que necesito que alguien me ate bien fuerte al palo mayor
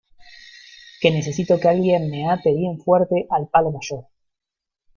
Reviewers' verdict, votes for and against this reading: rejected, 1, 2